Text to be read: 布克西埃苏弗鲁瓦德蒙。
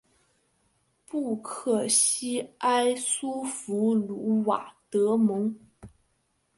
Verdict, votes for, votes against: accepted, 4, 0